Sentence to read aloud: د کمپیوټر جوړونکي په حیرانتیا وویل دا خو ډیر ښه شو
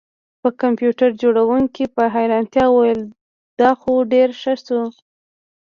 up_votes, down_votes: 2, 0